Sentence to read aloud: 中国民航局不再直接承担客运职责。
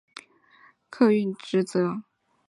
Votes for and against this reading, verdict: 4, 5, rejected